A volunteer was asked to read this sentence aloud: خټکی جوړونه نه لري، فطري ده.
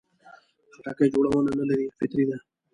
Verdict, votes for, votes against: accepted, 2, 0